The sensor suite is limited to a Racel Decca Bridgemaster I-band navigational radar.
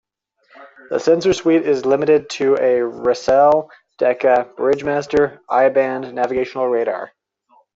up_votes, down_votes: 2, 0